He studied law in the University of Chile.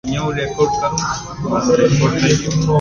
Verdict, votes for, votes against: rejected, 0, 2